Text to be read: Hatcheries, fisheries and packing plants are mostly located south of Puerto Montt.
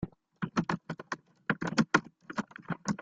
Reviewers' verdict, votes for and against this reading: rejected, 0, 2